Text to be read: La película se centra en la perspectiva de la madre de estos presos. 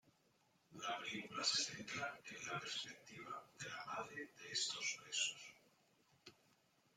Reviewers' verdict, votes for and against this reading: accepted, 2, 0